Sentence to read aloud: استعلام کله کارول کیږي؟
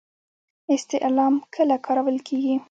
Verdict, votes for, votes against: accepted, 2, 0